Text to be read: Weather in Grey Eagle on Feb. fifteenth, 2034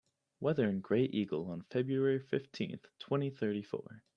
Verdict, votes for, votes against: rejected, 0, 2